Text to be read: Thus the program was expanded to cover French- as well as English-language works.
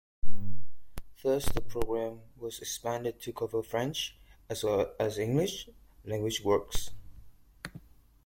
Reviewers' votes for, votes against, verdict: 2, 1, accepted